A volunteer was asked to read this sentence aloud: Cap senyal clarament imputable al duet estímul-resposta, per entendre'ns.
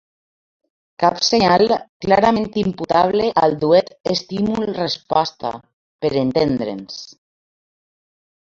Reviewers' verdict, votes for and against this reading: rejected, 0, 2